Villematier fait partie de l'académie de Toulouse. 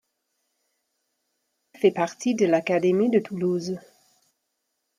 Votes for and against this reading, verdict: 1, 2, rejected